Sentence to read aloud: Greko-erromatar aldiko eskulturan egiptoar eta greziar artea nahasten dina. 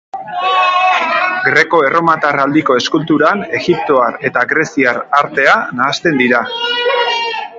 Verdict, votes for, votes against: rejected, 0, 2